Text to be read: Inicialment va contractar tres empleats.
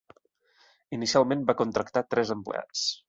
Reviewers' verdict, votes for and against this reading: accepted, 2, 0